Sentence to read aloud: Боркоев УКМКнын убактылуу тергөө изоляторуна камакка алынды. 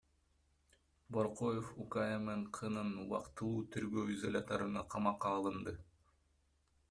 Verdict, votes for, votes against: accepted, 2, 1